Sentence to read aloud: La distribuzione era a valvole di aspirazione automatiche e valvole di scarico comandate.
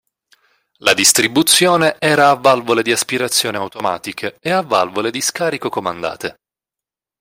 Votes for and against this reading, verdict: 0, 2, rejected